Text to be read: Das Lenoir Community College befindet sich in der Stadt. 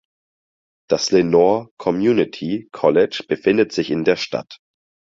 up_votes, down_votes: 2, 4